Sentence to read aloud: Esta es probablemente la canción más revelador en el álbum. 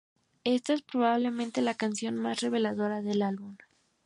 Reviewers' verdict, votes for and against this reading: rejected, 0, 2